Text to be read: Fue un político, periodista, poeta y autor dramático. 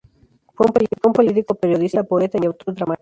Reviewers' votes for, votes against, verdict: 0, 2, rejected